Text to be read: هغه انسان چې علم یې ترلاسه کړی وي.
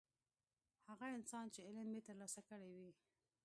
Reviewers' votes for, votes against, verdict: 2, 0, accepted